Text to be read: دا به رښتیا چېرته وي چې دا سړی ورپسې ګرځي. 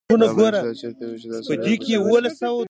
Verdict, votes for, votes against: rejected, 0, 2